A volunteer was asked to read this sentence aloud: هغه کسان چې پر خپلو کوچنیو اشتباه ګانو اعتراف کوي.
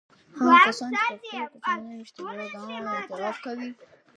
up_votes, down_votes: 1, 2